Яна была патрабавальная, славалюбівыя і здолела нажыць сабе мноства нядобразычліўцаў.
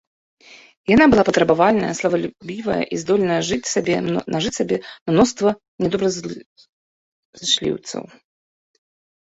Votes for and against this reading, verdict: 0, 2, rejected